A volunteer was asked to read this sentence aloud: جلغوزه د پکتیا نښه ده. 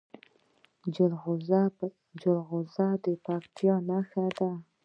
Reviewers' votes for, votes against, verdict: 0, 2, rejected